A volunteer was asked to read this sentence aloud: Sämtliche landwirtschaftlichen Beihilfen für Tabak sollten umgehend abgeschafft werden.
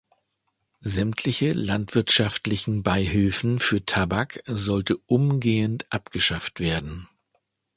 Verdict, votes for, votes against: rejected, 0, 2